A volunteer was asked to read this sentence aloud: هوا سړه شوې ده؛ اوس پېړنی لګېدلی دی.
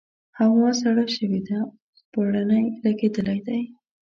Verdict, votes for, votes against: rejected, 1, 2